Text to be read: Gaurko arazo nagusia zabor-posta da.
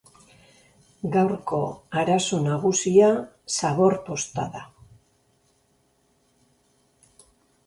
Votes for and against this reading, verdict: 2, 0, accepted